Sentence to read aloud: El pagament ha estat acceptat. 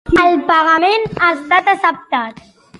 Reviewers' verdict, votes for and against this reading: rejected, 1, 2